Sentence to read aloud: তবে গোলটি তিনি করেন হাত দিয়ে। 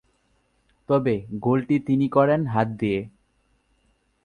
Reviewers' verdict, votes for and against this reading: accepted, 2, 0